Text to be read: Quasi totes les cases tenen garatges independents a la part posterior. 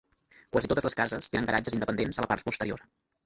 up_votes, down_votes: 1, 2